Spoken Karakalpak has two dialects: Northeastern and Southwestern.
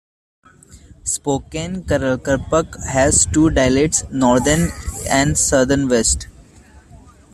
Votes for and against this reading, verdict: 1, 2, rejected